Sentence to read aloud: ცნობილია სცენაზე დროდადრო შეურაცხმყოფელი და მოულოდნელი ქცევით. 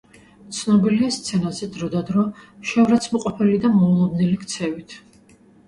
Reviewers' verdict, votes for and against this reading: accepted, 2, 0